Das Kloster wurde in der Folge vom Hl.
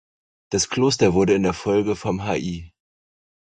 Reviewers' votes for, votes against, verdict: 0, 4, rejected